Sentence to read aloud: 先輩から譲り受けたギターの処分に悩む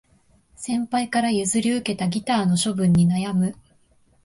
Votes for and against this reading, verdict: 2, 0, accepted